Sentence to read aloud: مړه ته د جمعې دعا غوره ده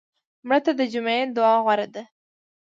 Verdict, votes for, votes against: accepted, 2, 0